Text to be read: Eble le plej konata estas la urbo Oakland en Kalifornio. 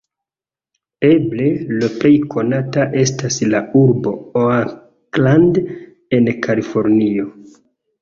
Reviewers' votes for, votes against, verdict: 2, 0, accepted